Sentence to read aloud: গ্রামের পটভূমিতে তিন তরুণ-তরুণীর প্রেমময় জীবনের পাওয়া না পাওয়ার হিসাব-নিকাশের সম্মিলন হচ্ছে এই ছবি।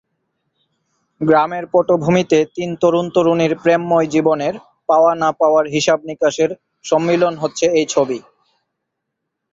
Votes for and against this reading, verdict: 4, 2, accepted